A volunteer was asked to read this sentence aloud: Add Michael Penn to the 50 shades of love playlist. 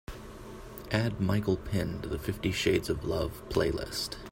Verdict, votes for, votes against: rejected, 0, 2